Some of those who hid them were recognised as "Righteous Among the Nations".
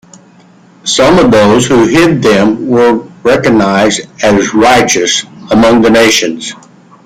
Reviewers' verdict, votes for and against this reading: accepted, 2, 1